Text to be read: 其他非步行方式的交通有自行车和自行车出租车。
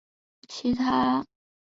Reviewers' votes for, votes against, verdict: 0, 2, rejected